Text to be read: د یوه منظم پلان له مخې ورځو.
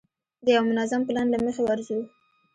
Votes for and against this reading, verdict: 1, 2, rejected